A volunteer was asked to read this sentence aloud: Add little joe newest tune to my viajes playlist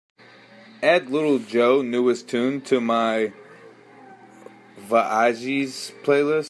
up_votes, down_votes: 0, 2